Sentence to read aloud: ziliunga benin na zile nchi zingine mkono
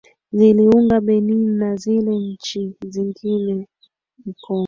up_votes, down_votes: 3, 1